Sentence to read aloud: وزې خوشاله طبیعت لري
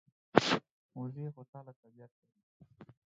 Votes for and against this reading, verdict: 2, 4, rejected